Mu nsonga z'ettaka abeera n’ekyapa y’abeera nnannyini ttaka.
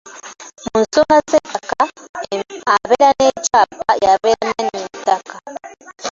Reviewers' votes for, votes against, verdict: 0, 2, rejected